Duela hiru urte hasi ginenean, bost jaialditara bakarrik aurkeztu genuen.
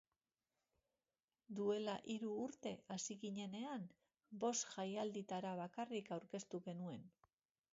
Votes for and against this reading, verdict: 2, 0, accepted